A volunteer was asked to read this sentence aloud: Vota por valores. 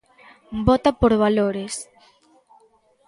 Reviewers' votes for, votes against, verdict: 2, 0, accepted